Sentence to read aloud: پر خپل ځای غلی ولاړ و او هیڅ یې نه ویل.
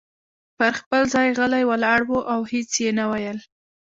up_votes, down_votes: 2, 0